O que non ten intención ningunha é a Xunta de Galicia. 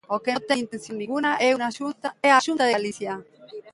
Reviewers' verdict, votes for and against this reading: rejected, 0, 2